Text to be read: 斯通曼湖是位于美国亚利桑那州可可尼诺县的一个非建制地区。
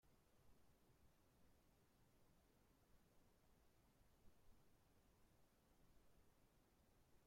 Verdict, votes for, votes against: rejected, 0, 2